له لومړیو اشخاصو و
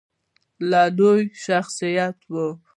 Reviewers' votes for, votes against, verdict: 2, 0, accepted